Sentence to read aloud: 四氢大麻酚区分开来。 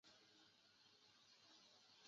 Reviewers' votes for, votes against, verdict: 1, 4, rejected